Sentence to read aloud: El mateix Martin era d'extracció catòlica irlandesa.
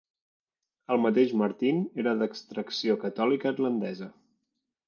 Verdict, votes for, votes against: rejected, 1, 2